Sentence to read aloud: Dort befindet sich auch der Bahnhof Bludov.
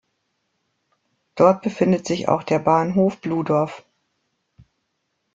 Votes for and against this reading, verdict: 2, 0, accepted